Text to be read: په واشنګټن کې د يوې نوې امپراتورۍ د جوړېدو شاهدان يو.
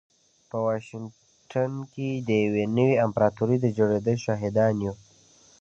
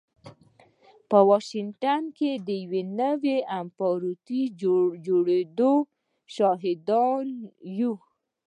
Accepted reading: first